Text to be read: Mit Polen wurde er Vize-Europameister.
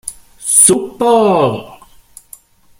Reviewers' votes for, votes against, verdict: 0, 2, rejected